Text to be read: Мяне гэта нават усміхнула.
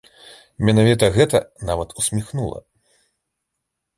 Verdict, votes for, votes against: rejected, 1, 3